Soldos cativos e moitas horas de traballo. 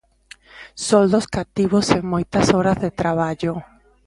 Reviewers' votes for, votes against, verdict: 2, 0, accepted